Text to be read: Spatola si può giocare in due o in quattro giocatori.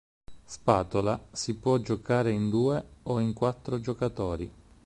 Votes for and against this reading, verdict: 4, 0, accepted